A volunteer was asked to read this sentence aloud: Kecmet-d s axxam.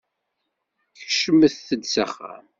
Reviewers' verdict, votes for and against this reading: accepted, 2, 0